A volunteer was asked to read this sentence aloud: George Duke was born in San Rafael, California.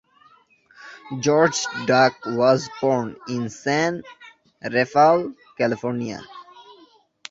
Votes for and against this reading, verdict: 0, 2, rejected